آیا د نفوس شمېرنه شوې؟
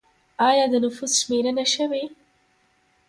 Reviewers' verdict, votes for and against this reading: rejected, 1, 2